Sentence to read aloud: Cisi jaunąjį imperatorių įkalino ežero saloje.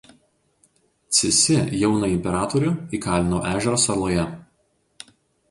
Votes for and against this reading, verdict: 2, 2, rejected